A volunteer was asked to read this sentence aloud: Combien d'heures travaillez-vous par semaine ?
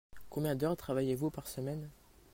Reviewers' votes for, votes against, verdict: 2, 0, accepted